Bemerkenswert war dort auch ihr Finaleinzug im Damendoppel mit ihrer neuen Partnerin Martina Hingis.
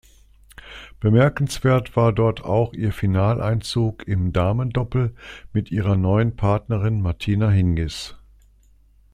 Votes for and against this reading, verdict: 2, 0, accepted